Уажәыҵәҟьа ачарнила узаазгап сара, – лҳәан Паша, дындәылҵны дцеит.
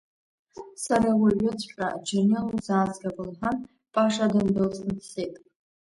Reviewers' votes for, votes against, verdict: 0, 2, rejected